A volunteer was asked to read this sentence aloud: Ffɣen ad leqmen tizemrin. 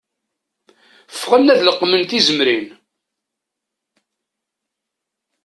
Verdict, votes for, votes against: accepted, 2, 0